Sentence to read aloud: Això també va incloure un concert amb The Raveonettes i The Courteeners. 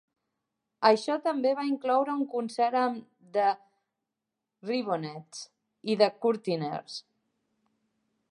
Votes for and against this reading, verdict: 0, 4, rejected